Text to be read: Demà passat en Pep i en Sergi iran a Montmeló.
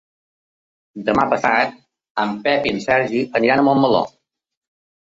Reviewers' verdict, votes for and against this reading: rejected, 1, 2